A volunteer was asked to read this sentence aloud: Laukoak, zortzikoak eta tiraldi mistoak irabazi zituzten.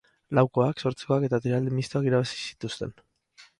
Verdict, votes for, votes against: accepted, 2, 0